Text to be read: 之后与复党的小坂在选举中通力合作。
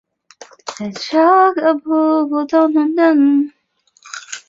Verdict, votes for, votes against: rejected, 1, 4